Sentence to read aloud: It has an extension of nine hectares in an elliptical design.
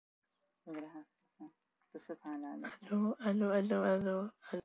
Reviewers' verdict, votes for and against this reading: rejected, 0, 2